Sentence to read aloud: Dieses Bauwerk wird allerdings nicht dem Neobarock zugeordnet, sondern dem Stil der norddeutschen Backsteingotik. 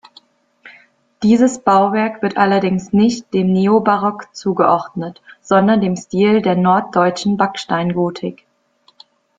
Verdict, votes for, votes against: accepted, 2, 0